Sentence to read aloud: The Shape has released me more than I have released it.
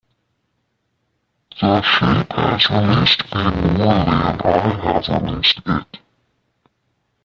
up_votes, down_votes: 0, 2